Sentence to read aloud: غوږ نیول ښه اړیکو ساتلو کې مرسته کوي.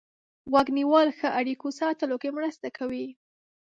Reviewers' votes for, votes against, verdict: 2, 0, accepted